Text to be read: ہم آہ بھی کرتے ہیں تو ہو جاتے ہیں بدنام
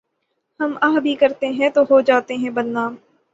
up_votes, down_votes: 6, 0